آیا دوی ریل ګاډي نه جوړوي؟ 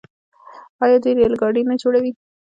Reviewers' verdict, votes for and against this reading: rejected, 1, 2